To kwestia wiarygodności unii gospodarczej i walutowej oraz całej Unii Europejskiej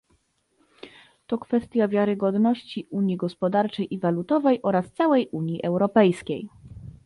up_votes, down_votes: 2, 0